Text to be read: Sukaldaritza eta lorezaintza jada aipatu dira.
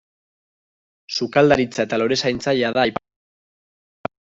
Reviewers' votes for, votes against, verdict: 0, 2, rejected